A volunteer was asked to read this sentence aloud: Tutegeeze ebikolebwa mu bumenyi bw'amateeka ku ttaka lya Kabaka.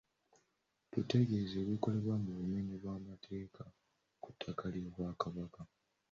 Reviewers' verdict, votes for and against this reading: rejected, 0, 2